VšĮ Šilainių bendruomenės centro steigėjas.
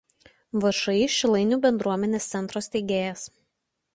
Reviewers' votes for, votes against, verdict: 2, 0, accepted